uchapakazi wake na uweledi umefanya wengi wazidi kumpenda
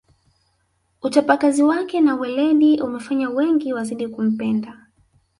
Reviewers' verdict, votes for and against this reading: rejected, 1, 2